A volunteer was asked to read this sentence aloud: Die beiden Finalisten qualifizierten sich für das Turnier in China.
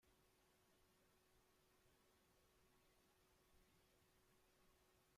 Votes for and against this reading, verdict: 0, 2, rejected